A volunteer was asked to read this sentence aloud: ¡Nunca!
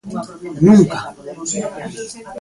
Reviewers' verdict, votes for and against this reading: rejected, 1, 2